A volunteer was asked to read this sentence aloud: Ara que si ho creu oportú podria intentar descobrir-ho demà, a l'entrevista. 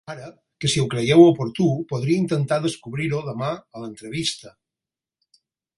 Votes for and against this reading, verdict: 2, 4, rejected